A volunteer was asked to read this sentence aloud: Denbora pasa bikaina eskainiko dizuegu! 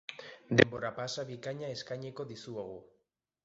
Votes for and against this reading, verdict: 1, 2, rejected